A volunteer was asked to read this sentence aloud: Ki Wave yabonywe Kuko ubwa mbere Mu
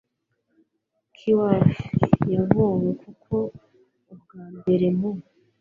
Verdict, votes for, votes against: rejected, 0, 2